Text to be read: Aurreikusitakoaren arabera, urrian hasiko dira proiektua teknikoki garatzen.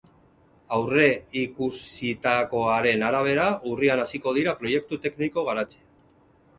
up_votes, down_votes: 2, 2